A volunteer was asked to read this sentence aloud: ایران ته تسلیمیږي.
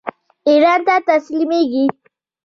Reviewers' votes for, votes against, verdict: 2, 0, accepted